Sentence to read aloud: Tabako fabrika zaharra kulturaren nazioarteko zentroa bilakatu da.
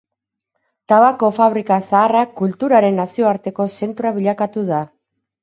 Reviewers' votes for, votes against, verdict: 4, 0, accepted